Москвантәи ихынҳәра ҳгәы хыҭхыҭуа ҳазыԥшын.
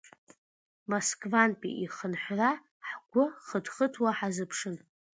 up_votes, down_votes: 2, 0